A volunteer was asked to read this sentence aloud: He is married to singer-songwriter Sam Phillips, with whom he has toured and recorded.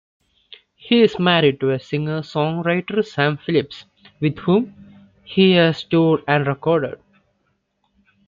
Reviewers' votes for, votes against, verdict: 2, 1, accepted